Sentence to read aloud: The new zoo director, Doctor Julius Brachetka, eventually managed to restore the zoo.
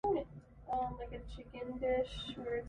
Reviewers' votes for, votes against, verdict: 0, 2, rejected